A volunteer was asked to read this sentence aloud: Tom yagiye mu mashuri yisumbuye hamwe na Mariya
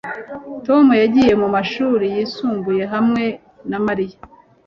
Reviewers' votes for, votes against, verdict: 2, 0, accepted